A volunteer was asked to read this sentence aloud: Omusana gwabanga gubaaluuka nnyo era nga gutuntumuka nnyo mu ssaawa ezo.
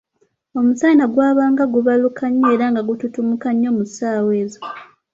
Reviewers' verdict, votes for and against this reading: accepted, 2, 1